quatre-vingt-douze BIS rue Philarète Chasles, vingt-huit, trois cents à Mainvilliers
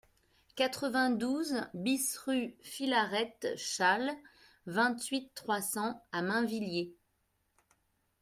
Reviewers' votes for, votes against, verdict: 2, 0, accepted